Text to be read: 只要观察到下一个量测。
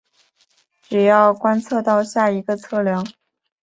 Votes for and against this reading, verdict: 0, 3, rejected